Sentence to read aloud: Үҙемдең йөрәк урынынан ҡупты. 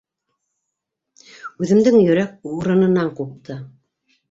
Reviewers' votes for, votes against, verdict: 2, 0, accepted